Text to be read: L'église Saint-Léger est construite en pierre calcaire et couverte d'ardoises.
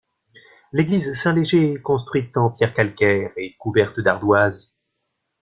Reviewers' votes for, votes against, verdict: 1, 2, rejected